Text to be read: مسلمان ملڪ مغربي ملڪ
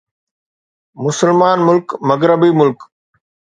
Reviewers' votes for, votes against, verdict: 2, 0, accepted